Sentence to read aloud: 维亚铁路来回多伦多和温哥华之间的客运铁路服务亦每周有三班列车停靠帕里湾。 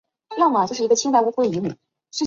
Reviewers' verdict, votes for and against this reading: rejected, 0, 5